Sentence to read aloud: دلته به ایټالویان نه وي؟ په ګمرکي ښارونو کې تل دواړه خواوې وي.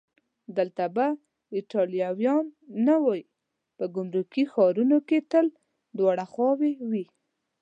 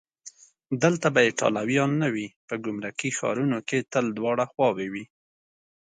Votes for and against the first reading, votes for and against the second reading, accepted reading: 2, 3, 2, 0, second